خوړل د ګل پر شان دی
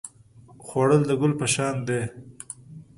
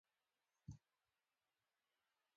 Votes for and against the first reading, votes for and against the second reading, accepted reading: 2, 0, 0, 2, first